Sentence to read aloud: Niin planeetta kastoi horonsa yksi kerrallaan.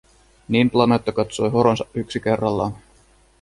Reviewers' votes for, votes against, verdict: 0, 2, rejected